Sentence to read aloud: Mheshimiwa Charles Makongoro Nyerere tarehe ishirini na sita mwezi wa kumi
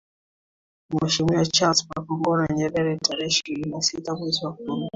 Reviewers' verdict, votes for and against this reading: accepted, 2, 1